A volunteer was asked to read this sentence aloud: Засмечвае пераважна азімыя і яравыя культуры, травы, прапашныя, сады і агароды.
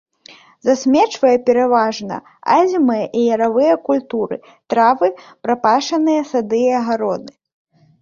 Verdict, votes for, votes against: rejected, 1, 2